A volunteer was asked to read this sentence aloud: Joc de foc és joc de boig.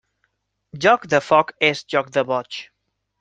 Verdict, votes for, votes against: accepted, 3, 0